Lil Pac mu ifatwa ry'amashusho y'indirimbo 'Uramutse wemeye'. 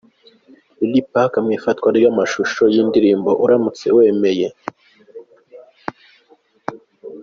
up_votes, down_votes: 2, 0